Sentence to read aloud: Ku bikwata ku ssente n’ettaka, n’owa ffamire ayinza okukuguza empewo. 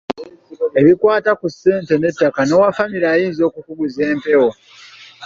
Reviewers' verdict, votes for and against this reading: rejected, 0, 2